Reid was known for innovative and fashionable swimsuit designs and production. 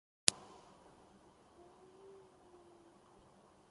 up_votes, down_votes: 0, 2